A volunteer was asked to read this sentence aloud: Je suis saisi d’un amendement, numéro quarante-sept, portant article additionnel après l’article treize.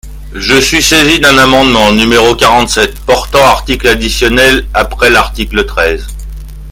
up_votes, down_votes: 2, 1